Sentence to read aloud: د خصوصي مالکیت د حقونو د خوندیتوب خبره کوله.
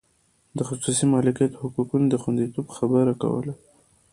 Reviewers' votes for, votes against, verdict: 2, 1, accepted